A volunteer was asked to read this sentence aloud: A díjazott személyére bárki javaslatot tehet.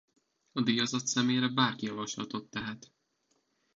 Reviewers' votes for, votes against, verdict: 0, 2, rejected